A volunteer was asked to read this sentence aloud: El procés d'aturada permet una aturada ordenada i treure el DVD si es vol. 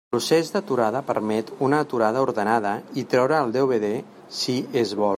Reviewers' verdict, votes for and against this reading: rejected, 0, 2